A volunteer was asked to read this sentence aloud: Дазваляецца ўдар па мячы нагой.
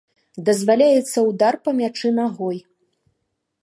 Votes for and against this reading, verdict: 2, 0, accepted